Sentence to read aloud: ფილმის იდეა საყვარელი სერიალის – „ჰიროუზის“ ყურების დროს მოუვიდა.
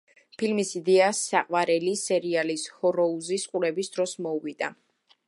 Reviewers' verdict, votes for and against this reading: rejected, 1, 2